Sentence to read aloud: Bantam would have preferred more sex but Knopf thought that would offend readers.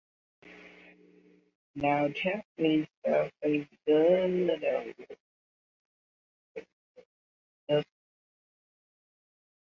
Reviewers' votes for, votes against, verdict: 0, 2, rejected